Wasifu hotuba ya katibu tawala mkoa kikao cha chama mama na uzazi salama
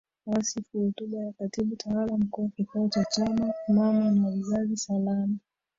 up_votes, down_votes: 0, 2